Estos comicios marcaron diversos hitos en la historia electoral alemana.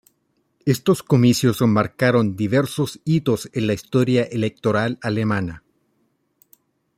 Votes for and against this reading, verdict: 0, 2, rejected